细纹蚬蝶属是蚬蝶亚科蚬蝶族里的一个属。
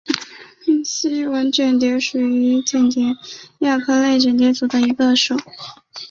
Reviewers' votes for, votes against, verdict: 0, 2, rejected